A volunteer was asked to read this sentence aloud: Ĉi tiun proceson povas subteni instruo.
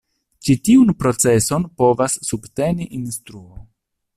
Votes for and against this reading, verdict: 1, 2, rejected